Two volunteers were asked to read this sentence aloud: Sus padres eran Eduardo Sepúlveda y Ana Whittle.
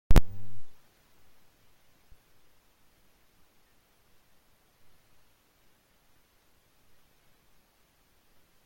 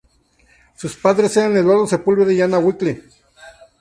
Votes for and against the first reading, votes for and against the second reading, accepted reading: 0, 2, 2, 0, second